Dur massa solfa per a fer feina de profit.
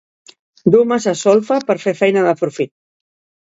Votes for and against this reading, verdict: 1, 2, rejected